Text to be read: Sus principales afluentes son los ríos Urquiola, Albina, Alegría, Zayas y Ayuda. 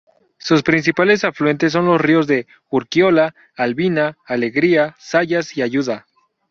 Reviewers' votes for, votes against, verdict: 0, 4, rejected